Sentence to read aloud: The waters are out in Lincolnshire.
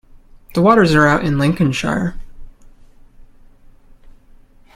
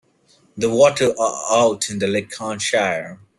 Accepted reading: first